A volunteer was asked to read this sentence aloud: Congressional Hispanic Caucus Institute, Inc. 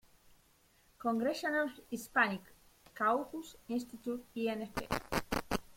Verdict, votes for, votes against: rejected, 1, 2